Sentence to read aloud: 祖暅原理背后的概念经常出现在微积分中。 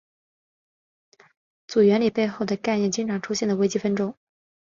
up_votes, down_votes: 4, 0